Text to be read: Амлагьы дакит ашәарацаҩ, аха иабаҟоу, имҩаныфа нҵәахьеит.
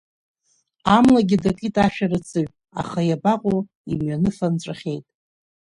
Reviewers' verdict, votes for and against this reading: accepted, 4, 0